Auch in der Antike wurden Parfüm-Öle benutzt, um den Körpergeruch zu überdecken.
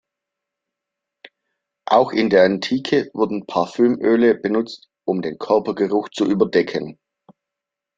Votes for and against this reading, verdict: 2, 0, accepted